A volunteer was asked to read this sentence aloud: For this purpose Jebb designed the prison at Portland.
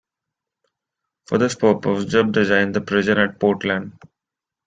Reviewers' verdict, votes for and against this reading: accepted, 2, 0